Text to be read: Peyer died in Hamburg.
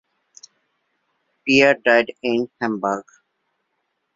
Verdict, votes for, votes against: accepted, 2, 0